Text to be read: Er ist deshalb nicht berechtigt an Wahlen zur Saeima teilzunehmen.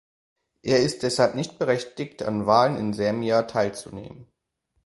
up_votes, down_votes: 0, 2